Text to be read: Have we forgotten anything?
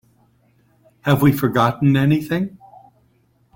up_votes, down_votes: 2, 0